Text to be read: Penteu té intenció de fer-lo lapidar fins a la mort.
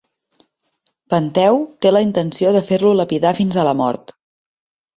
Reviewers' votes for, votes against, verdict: 2, 3, rejected